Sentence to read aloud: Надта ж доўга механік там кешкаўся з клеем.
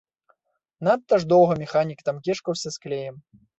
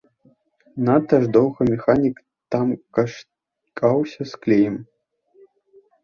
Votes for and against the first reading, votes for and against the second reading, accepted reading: 3, 0, 0, 2, first